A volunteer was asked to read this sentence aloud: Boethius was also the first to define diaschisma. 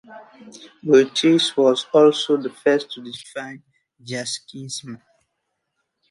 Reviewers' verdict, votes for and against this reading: rejected, 0, 2